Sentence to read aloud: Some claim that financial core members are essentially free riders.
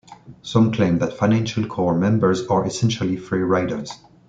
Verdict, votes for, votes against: rejected, 0, 2